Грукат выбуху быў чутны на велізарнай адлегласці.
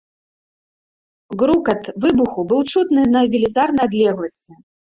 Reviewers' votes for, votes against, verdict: 0, 2, rejected